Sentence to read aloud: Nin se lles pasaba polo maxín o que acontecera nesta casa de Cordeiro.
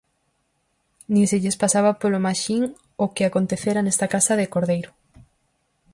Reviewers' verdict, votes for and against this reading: accepted, 4, 0